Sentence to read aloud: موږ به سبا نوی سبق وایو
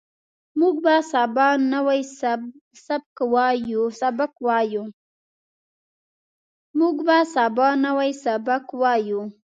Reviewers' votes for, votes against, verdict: 1, 2, rejected